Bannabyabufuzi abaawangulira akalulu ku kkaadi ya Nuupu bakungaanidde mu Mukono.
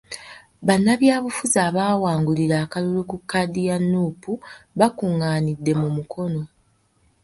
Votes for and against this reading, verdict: 3, 0, accepted